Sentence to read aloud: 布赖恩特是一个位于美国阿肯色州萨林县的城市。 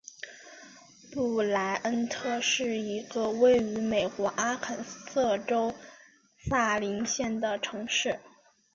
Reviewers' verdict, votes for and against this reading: accepted, 2, 1